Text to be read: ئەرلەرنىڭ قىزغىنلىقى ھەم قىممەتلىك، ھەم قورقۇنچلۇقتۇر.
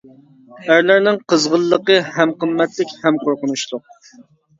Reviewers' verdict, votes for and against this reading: rejected, 1, 2